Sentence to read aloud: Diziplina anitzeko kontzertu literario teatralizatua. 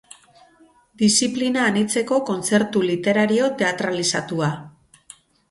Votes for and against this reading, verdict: 2, 2, rejected